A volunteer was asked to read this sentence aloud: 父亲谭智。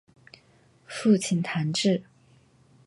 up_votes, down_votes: 2, 0